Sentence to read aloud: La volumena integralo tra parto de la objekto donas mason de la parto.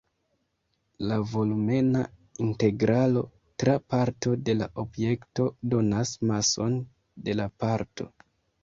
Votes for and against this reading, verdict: 2, 1, accepted